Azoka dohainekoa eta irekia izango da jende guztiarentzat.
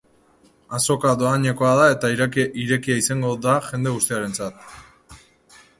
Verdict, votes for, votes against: rejected, 0, 3